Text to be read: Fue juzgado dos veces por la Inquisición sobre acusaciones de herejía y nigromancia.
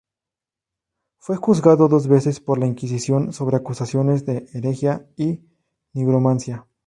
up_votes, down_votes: 0, 2